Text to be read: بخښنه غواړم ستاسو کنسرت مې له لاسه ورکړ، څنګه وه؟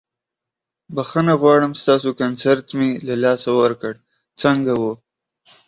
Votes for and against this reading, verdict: 0, 2, rejected